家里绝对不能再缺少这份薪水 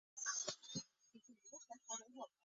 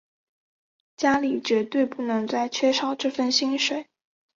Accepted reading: second